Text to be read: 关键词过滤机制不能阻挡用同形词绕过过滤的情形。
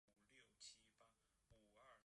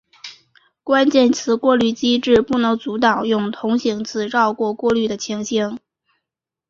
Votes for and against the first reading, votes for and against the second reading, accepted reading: 0, 2, 3, 0, second